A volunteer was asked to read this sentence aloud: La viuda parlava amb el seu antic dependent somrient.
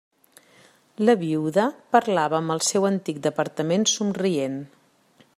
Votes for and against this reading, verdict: 0, 2, rejected